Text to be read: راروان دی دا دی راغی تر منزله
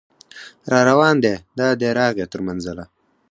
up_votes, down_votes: 2, 4